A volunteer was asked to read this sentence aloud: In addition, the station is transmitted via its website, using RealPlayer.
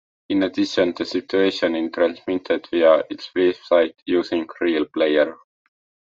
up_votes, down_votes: 0, 2